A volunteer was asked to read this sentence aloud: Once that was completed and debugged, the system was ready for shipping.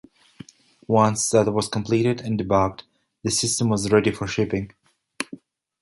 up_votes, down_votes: 2, 1